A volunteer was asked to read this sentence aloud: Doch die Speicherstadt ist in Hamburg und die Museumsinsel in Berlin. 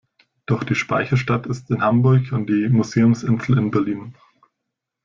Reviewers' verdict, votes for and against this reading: accepted, 2, 0